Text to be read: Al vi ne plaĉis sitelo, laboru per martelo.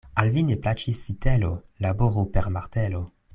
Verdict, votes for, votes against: accepted, 2, 0